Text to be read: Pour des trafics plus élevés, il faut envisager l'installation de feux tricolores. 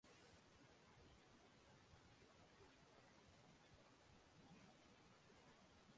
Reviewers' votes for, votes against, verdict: 0, 2, rejected